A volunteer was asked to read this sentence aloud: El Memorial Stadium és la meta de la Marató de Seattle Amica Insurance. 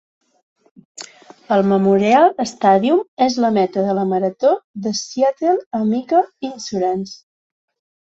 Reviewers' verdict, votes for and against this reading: accepted, 2, 0